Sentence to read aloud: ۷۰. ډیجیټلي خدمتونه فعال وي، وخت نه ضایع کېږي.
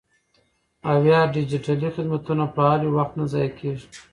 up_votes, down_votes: 0, 2